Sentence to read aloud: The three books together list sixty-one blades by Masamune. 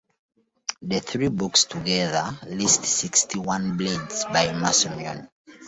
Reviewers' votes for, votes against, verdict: 2, 0, accepted